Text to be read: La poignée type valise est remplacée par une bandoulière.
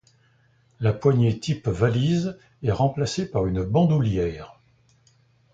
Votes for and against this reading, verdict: 2, 0, accepted